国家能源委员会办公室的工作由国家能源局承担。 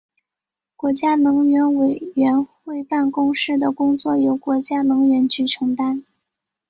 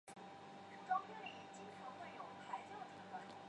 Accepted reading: first